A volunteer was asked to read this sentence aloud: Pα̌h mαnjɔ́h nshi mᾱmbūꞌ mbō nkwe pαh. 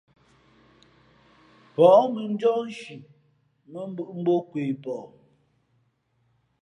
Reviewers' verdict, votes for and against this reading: rejected, 0, 2